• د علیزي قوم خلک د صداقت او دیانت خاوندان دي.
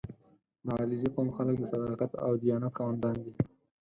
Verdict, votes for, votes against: accepted, 4, 0